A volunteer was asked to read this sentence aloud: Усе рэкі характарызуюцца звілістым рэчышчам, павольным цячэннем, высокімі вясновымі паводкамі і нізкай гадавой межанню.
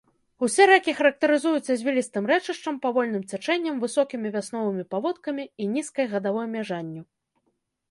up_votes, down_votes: 0, 2